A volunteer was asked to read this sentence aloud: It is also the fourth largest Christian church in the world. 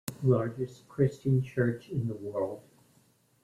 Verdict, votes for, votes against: rejected, 0, 2